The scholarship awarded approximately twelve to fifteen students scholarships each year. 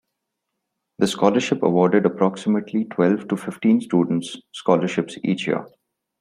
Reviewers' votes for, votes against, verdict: 2, 0, accepted